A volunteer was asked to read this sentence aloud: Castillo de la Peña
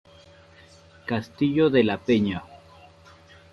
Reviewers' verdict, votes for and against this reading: accepted, 2, 0